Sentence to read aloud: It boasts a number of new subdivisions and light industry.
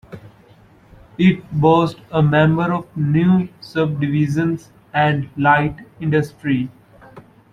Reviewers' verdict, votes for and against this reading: rejected, 0, 2